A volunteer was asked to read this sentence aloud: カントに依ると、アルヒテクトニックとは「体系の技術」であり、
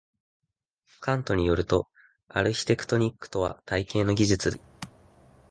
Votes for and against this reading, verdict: 0, 2, rejected